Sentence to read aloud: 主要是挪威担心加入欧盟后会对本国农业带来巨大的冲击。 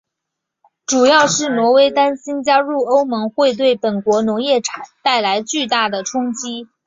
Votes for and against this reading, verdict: 4, 2, accepted